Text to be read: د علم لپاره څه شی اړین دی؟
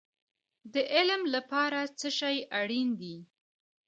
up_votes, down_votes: 1, 2